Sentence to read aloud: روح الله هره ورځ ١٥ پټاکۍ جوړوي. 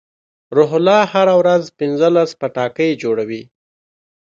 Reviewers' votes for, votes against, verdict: 0, 2, rejected